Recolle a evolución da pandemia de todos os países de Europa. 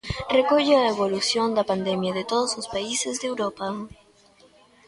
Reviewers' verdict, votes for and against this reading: accepted, 2, 1